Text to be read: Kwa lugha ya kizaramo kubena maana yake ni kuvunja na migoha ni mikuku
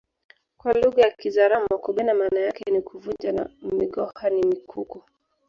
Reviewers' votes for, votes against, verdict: 1, 2, rejected